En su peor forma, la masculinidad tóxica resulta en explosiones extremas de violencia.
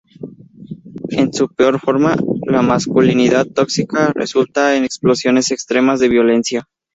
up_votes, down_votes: 0, 2